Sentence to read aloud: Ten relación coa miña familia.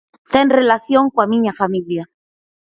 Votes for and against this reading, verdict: 4, 0, accepted